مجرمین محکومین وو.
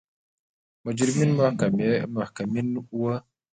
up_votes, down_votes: 3, 2